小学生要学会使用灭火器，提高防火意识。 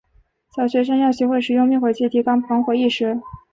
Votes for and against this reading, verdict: 2, 1, accepted